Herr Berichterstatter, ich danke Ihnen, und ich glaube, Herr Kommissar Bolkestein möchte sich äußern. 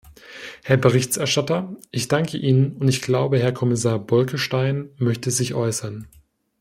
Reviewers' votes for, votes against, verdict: 1, 2, rejected